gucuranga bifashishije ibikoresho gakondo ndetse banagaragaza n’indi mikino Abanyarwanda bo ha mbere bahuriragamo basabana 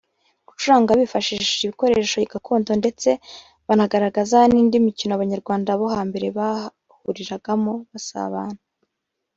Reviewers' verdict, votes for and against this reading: accepted, 2, 1